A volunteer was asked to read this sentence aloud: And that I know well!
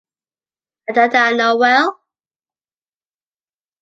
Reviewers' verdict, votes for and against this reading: accepted, 2, 0